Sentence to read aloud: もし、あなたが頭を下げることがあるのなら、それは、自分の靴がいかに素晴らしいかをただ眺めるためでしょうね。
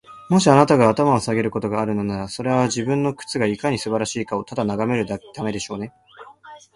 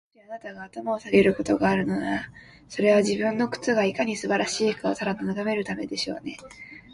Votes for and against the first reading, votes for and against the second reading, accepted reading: 2, 0, 1, 2, first